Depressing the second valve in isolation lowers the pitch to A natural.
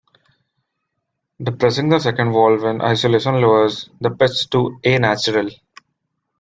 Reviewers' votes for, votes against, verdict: 1, 2, rejected